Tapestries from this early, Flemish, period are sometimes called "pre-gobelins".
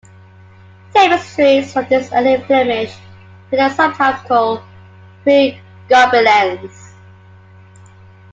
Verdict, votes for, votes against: rejected, 0, 2